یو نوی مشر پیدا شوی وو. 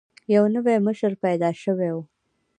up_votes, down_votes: 1, 2